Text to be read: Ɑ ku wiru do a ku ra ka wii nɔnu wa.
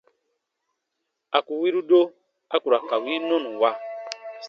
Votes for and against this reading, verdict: 0, 2, rejected